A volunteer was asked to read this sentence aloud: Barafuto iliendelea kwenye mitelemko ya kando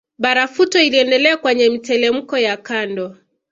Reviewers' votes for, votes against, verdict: 2, 0, accepted